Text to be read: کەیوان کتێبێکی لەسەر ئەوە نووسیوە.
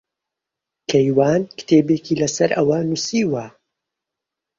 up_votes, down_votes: 2, 0